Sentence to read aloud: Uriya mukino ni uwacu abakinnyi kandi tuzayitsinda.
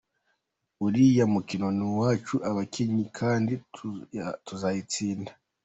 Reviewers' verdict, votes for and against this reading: rejected, 2, 3